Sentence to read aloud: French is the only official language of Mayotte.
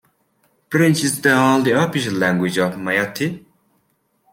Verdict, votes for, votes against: accepted, 3, 2